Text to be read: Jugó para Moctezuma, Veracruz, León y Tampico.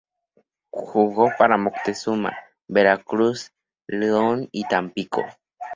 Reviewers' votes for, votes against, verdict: 6, 0, accepted